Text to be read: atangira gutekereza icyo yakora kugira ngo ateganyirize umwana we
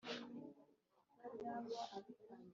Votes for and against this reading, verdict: 0, 2, rejected